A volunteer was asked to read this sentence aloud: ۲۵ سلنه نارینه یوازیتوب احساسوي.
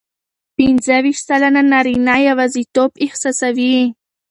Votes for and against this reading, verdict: 0, 2, rejected